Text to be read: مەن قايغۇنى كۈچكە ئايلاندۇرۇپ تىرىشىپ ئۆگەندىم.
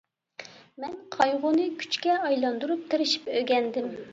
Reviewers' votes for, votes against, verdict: 2, 0, accepted